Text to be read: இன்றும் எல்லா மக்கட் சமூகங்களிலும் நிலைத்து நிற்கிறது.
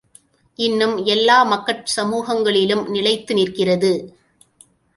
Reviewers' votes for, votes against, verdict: 1, 2, rejected